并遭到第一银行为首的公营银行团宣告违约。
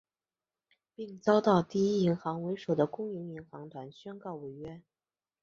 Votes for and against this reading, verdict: 5, 1, accepted